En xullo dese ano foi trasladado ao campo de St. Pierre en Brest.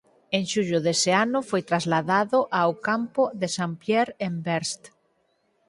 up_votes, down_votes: 4, 2